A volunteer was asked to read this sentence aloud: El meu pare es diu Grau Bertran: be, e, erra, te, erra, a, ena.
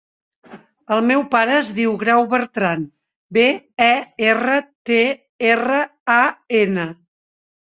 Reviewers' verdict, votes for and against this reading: accepted, 2, 0